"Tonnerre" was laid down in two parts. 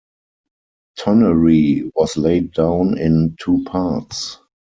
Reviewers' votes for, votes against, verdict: 2, 4, rejected